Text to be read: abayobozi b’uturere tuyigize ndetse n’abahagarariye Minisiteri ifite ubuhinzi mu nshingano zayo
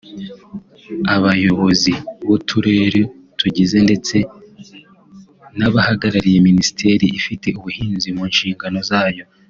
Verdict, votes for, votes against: accepted, 2, 0